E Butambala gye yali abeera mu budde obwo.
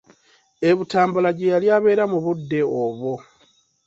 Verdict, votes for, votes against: accepted, 2, 0